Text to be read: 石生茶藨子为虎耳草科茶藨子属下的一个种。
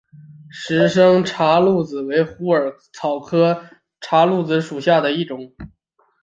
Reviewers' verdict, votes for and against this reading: accepted, 2, 0